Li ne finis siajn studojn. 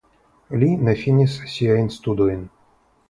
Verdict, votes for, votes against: accepted, 3, 0